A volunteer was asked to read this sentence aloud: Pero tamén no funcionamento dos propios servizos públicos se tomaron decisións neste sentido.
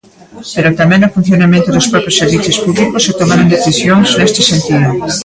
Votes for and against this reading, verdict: 0, 2, rejected